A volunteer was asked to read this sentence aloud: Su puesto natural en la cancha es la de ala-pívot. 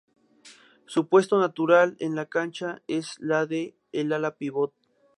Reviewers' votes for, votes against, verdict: 0, 2, rejected